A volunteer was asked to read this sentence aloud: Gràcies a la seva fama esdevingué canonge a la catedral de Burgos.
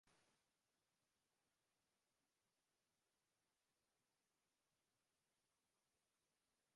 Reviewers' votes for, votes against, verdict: 1, 2, rejected